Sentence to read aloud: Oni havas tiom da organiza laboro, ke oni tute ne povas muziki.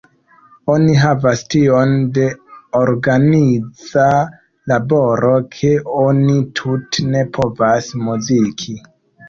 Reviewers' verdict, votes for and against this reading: rejected, 0, 2